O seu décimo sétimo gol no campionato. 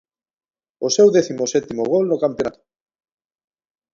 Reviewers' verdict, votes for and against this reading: rejected, 1, 2